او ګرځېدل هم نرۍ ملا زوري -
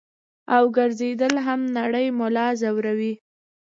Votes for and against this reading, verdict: 2, 0, accepted